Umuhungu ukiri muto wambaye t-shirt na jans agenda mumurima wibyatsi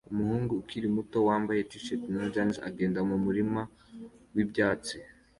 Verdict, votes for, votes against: accepted, 2, 0